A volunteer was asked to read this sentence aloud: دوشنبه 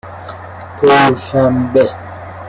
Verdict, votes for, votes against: rejected, 0, 2